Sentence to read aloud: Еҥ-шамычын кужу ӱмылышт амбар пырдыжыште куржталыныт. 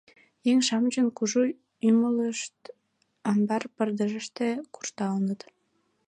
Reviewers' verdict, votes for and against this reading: accepted, 2, 0